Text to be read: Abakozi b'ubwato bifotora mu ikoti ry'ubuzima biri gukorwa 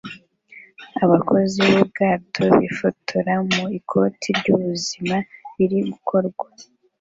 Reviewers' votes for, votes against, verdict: 2, 0, accepted